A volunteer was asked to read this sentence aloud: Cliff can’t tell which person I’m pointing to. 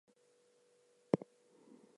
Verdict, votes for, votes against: rejected, 0, 2